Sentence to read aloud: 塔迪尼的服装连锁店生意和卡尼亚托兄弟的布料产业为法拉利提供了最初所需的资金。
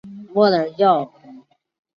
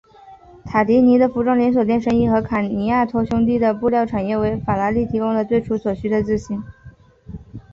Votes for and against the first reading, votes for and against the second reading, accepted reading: 1, 2, 2, 0, second